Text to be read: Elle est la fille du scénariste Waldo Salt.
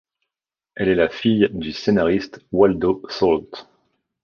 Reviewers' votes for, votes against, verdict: 2, 0, accepted